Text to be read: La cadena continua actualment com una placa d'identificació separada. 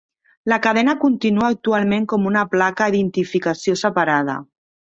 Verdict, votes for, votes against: rejected, 1, 2